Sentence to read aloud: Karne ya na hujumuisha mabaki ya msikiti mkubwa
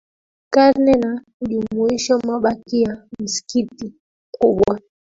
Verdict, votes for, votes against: accepted, 4, 2